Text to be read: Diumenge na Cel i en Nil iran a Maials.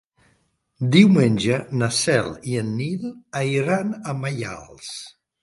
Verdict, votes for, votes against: rejected, 0, 2